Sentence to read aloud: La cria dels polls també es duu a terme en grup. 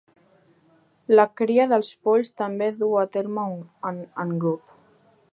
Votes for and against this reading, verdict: 2, 0, accepted